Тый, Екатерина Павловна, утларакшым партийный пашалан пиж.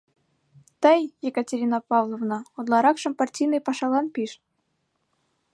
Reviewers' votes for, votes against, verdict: 2, 0, accepted